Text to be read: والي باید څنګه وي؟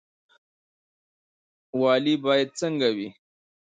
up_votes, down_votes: 0, 2